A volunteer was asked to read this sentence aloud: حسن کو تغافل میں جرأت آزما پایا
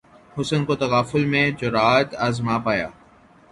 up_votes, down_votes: 3, 0